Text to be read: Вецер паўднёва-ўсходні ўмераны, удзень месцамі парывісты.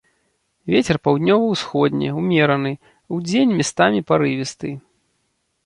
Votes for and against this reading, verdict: 0, 2, rejected